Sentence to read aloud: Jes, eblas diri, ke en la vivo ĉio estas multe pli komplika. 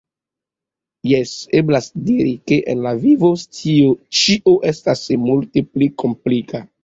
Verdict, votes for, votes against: accepted, 2, 1